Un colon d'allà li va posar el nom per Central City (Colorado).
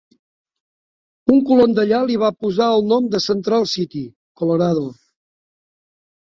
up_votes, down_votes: 2, 0